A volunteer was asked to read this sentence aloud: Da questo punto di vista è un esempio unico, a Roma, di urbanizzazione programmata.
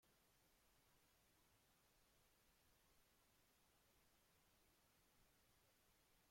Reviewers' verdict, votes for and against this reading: rejected, 0, 2